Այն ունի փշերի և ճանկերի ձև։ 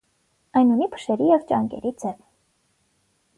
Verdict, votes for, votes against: accepted, 9, 0